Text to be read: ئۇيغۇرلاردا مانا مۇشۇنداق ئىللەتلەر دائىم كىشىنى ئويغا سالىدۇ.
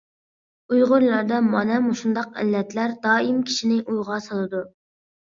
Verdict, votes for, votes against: accepted, 2, 0